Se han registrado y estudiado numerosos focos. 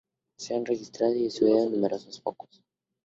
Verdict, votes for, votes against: accepted, 2, 0